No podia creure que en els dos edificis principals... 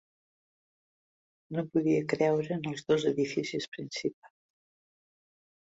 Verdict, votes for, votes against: rejected, 0, 2